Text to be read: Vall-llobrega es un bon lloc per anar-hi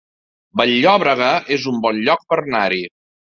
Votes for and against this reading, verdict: 2, 0, accepted